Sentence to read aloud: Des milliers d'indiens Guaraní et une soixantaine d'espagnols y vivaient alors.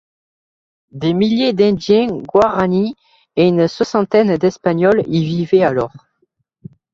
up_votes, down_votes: 2, 1